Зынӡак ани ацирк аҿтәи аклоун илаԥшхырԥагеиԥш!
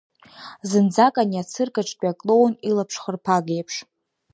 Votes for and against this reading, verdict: 2, 0, accepted